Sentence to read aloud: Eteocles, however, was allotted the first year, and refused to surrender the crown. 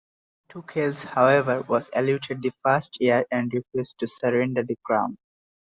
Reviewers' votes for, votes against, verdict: 2, 1, accepted